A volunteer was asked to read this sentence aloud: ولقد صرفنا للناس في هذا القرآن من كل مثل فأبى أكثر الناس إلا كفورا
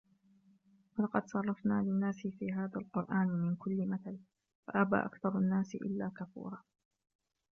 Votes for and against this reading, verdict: 1, 2, rejected